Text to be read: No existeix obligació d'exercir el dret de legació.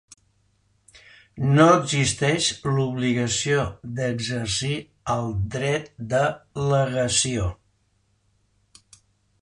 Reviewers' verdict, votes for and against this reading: rejected, 0, 2